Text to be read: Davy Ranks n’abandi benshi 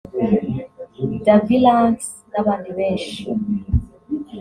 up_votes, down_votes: 2, 0